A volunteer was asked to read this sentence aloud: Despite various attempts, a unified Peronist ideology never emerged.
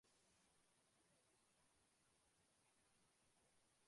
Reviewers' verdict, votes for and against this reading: rejected, 0, 2